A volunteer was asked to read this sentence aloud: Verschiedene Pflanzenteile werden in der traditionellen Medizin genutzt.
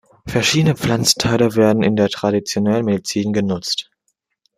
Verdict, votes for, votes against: accepted, 2, 0